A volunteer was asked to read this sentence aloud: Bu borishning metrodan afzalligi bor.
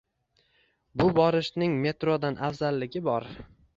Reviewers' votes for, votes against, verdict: 2, 1, accepted